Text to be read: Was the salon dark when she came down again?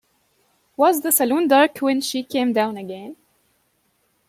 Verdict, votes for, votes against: accepted, 2, 1